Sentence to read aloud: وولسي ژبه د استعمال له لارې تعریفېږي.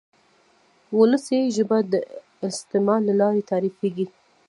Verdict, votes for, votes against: rejected, 1, 2